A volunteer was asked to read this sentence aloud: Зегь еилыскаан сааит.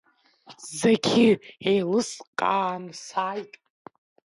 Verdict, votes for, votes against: rejected, 0, 2